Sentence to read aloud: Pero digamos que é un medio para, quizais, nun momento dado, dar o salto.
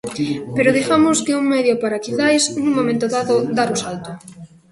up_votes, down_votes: 5, 0